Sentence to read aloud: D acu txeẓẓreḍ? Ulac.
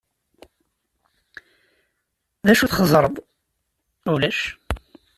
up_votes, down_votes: 2, 0